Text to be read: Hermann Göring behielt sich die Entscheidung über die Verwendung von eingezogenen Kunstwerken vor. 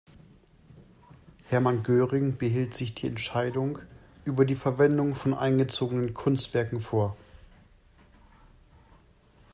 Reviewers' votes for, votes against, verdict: 2, 0, accepted